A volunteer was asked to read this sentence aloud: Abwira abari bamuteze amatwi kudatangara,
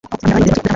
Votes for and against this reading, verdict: 1, 2, rejected